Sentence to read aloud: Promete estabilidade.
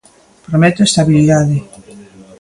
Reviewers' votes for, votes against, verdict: 2, 0, accepted